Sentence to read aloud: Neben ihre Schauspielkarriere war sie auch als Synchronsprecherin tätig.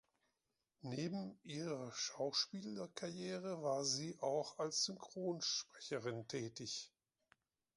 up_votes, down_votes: 0, 2